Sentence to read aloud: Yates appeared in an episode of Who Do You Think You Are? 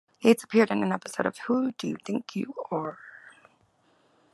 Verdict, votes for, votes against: accepted, 2, 0